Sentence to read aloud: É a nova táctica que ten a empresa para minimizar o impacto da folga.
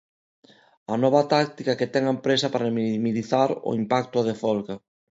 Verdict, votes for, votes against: rejected, 0, 2